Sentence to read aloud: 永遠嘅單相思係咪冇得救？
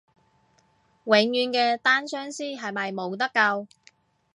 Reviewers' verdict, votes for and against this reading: accepted, 2, 0